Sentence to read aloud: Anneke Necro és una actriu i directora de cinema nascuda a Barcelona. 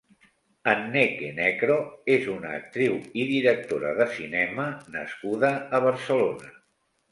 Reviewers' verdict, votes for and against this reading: accepted, 9, 0